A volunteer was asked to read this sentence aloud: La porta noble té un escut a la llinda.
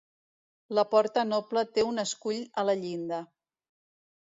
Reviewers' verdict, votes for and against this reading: rejected, 1, 2